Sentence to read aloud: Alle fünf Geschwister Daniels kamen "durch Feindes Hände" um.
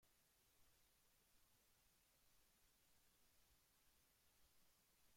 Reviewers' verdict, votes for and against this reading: rejected, 0, 2